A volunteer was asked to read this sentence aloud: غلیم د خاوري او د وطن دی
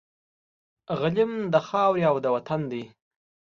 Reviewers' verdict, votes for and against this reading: accepted, 2, 0